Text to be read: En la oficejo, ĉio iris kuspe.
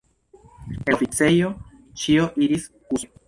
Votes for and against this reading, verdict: 0, 2, rejected